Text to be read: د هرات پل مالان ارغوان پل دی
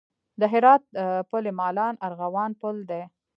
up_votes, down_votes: 1, 2